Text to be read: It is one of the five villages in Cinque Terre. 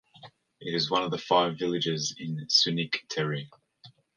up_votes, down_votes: 1, 2